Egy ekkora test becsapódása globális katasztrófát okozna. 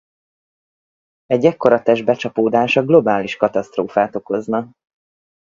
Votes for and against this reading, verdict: 4, 0, accepted